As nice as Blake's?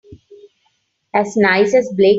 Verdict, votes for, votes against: rejected, 0, 3